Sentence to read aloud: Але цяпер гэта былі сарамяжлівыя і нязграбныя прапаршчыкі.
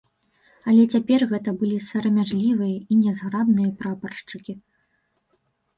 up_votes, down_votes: 0, 2